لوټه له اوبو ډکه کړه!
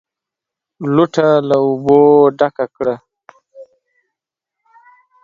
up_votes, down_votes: 2, 1